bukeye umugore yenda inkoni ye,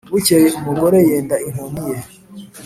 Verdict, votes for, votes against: accepted, 2, 0